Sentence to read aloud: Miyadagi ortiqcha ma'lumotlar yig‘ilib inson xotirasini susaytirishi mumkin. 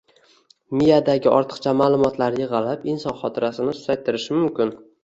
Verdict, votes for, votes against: accepted, 2, 0